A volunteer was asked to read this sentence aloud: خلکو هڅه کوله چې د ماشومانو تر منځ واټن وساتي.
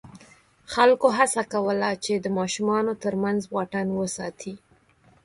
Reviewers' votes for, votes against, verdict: 4, 0, accepted